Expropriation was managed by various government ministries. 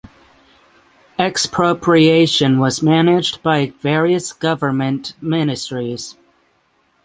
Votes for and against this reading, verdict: 9, 0, accepted